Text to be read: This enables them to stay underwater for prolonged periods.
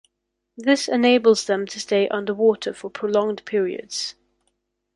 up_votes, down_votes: 2, 0